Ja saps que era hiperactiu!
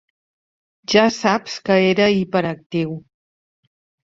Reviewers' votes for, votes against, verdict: 3, 0, accepted